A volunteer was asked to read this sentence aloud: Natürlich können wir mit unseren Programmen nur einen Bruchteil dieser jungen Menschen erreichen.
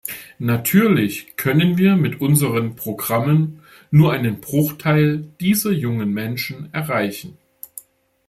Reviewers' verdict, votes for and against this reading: accepted, 2, 0